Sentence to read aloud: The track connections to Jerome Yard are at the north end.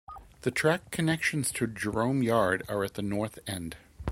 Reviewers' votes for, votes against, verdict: 2, 0, accepted